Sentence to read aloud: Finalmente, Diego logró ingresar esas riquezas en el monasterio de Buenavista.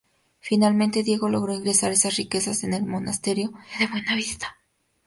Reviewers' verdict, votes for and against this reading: accepted, 2, 0